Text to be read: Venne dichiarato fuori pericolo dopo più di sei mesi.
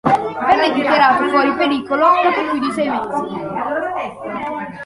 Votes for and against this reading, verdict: 0, 2, rejected